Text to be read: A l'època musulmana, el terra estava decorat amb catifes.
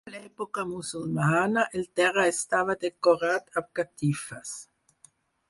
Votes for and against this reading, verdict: 4, 2, accepted